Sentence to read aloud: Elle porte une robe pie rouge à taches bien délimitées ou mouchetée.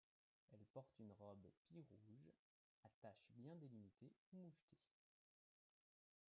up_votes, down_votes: 2, 1